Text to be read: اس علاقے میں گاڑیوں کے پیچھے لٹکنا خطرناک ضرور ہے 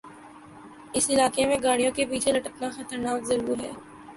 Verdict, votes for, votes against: accepted, 11, 1